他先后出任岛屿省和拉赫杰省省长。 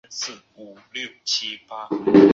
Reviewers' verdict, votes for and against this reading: rejected, 0, 3